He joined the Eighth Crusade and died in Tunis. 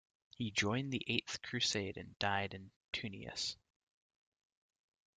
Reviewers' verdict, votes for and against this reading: rejected, 1, 2